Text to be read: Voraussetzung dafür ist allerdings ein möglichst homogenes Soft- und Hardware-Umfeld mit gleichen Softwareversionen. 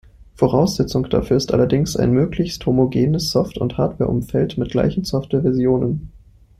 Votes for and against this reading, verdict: 2, 1, accepted